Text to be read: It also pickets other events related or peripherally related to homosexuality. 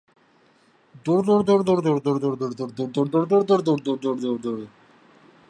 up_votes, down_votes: 0, 3